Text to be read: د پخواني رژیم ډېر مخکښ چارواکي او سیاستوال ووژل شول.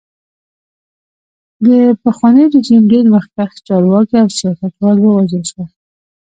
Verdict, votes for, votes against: rejected, 1, 2